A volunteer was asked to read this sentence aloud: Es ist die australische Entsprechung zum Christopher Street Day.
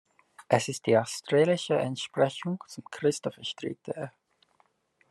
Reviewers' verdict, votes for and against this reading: accepted, 2, 1